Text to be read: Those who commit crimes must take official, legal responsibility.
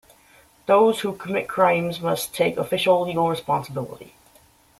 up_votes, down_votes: 2, 0